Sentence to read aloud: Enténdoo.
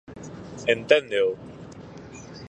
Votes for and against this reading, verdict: 2, 4, rejected